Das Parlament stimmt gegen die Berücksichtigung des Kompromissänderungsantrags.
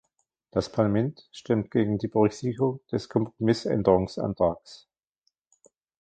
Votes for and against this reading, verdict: 0, 2, rejected